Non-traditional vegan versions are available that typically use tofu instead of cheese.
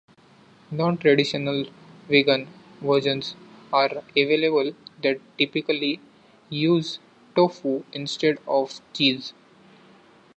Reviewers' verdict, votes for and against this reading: accepted, 2, 0